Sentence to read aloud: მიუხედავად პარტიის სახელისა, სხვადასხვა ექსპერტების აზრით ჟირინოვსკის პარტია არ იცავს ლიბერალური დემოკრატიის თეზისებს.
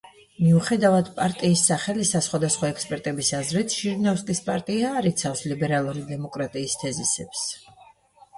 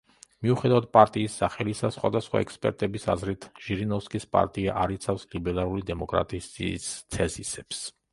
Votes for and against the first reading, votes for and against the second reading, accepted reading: 2, 0, 0, 2, first